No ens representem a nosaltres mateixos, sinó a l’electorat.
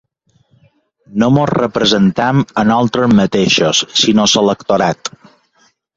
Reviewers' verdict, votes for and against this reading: rejected, 0, 3